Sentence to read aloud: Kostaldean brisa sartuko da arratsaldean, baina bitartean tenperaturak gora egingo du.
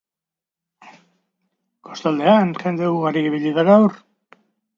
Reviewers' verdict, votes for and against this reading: rejected, 0, 2